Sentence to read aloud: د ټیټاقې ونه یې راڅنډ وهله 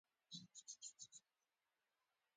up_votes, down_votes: 0, 2